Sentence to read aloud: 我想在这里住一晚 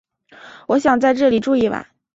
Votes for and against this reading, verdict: 2, 0, accepted